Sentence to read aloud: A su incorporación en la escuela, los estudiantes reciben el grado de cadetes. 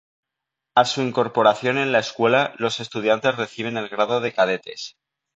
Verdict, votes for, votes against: accepted, 3, 0